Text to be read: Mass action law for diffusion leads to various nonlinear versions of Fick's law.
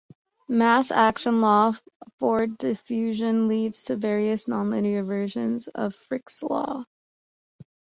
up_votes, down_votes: 2, 1